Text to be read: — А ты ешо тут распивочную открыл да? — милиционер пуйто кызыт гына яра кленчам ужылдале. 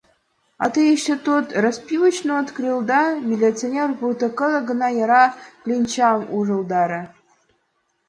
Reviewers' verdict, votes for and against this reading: rejected, 1, 2